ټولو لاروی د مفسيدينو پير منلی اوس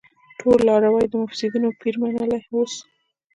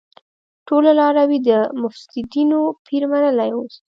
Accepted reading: second